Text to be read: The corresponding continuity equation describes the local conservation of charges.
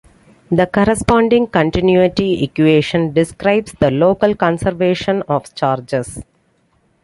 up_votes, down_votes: 2, 0